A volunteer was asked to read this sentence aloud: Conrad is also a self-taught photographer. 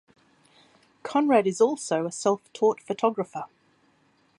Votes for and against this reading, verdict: 1, 2, rejected